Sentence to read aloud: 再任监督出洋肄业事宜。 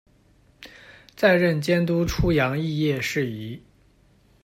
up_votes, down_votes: 2, 0